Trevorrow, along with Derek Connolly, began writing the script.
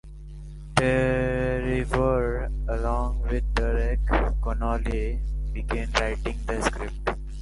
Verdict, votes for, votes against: rejected, 0, 2